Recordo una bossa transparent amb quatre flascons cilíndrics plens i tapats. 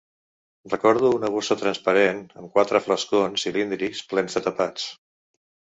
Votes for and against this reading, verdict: 1, 2, rejected